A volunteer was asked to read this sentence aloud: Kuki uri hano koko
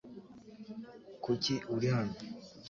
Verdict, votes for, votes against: rejected, 1, 2